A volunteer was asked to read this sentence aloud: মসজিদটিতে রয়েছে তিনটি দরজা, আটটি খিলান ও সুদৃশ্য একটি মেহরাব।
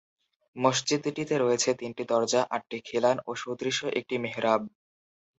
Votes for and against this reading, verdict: 4, 0, accepted